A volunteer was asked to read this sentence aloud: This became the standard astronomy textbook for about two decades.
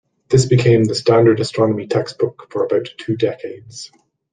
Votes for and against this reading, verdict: 2, 0, accepted